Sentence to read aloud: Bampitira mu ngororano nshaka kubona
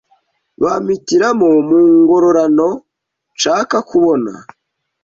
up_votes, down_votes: 1, 2